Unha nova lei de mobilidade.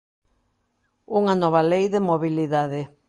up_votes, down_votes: 2, 0